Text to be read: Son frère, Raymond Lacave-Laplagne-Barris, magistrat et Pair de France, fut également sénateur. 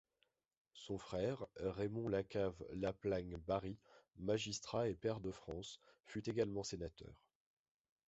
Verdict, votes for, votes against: rejected, 1, 2